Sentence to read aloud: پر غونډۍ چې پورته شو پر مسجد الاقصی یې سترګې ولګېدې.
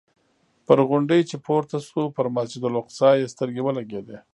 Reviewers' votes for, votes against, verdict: 0, 2, rejected